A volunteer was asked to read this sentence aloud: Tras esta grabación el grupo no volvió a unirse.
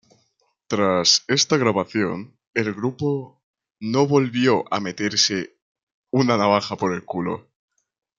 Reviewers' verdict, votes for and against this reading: rejected, 0, 2